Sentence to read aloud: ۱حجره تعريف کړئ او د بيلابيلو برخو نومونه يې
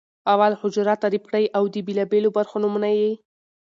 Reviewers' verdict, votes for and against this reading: rejected, 0, 2